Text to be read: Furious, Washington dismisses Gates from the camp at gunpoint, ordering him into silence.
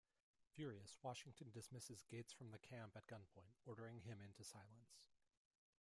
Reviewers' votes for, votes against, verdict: 2, 0, accepted